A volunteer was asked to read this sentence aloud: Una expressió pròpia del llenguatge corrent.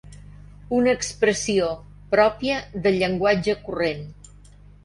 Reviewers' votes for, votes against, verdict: 3, 0, accepted